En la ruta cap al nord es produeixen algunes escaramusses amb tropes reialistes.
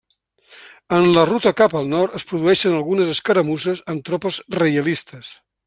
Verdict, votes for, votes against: accepted, 2, 0